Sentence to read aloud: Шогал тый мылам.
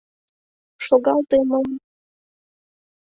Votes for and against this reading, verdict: 0, 3, rejected